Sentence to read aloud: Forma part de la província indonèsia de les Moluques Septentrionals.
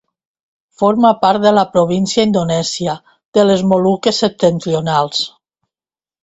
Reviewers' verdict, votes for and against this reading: accepted, 2, 0